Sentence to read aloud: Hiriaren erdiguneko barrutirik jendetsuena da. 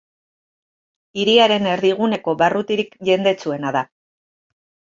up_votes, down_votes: 2, 0